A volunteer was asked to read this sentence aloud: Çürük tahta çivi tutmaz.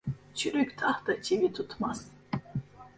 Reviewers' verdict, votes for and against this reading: rejected, 1, 2